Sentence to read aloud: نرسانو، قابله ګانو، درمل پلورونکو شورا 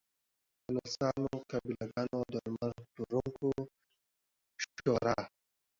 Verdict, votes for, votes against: accepted, 2, 0